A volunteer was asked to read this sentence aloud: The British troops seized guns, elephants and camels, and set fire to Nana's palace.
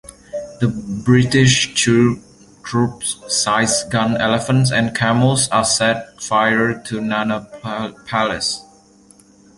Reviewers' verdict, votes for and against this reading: rejected, 0, 2